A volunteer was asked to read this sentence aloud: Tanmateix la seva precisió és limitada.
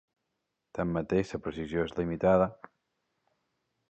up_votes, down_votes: 0, 2